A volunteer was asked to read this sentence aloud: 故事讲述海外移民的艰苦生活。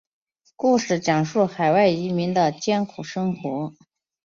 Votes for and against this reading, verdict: 2, 0, accepted